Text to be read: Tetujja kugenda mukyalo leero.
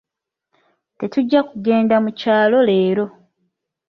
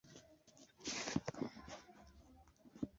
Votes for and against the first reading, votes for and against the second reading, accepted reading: 2, 0, 0, 2, first